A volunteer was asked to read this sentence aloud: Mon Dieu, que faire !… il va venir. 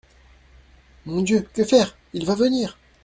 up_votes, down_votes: 2, 0